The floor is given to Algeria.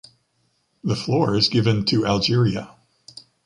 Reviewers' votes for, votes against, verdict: 3, 0, accepted